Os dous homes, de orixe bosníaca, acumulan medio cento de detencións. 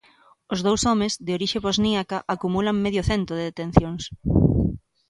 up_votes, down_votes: 2, 0